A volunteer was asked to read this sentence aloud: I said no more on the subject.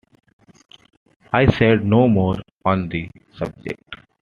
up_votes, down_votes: 2, 0